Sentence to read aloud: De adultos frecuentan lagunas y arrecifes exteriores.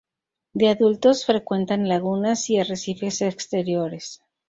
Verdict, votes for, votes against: accepted, 2, 0